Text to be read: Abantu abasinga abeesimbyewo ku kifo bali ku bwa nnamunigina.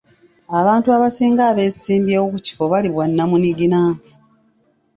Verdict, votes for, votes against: rejected, 1, 2